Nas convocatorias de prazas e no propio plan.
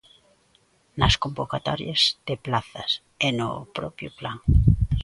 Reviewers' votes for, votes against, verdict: 0, 2, rejected